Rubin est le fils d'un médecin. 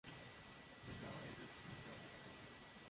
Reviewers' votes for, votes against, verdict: 0, 2, rejected